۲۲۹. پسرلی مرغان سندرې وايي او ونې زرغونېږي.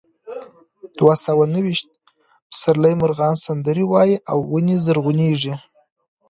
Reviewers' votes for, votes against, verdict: 0, 2, rejected